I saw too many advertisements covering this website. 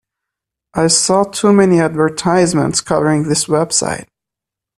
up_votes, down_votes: 2, 0